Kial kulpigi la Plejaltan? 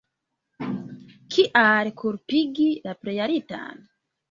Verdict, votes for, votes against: rejected, 0, 2